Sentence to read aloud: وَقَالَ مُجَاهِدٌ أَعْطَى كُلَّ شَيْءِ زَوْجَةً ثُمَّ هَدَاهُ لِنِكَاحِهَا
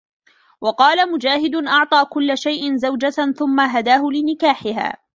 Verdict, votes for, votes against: accepted, 2, 0